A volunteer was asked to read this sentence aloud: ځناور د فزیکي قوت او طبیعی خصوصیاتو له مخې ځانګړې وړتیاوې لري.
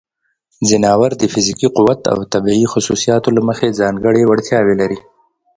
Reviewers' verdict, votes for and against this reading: accepted, 2, 0